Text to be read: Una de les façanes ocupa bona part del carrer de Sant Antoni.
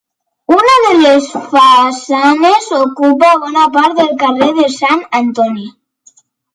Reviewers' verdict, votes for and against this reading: accepted, 2, 0